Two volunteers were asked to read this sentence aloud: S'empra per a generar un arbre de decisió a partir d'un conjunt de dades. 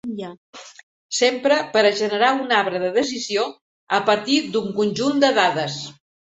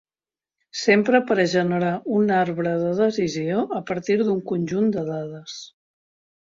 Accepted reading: second